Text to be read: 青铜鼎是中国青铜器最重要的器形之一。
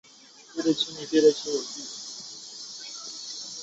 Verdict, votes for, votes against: rejected, 0, 2